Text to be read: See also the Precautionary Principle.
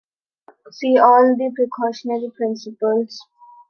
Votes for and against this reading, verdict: 1, 2, rejected